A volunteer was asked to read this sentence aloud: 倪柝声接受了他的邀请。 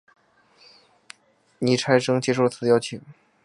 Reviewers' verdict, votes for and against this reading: rejected, 0, 4